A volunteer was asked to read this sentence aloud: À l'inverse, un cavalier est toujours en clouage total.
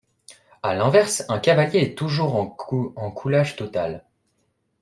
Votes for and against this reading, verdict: 0, 2, rejected